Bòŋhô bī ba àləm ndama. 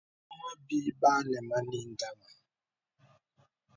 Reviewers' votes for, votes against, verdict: 3, 1, accepted